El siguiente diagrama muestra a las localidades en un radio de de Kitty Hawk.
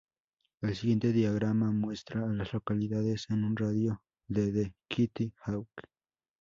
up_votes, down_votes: 2, 0